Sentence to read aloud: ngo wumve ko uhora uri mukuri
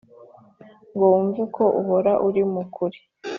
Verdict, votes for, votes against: accepted, 5, 0